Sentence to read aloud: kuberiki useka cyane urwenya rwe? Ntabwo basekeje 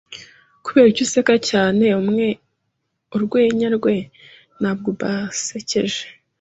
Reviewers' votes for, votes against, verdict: 1, 2, rejected